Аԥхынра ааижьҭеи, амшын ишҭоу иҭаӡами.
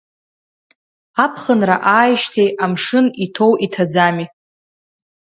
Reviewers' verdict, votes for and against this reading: rejected, 0, 2